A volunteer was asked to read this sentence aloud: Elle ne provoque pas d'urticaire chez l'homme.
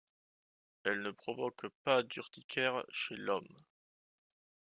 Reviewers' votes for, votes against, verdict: 2, 0, accepted